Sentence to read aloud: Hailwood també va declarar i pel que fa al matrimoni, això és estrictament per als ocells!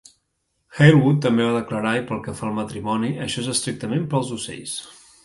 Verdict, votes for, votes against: rejected, 0, 2